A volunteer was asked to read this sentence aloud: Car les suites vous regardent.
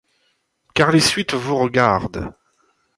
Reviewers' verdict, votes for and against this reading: accepted, 2, 0